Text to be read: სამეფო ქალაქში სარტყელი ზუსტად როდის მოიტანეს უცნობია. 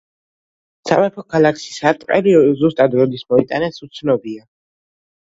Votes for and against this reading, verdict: 2, 0, accepted